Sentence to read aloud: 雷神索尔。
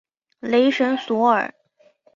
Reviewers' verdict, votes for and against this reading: accepted, 4, 0